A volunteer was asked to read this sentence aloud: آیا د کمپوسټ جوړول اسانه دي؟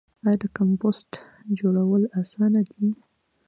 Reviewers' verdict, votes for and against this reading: accepted, 2, 0